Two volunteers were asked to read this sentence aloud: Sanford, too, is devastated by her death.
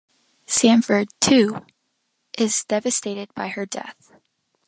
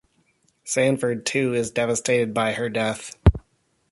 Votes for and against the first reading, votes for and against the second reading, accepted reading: 2, 1, 1, 2, first